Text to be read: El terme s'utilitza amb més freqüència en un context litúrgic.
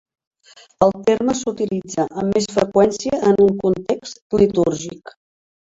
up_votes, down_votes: 1, 2